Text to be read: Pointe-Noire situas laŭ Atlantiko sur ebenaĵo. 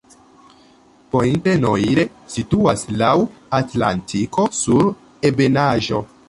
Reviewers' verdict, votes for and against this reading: accepted, 2, 0